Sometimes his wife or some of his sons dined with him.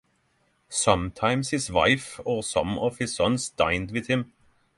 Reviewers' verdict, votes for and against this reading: accepted, 6, 0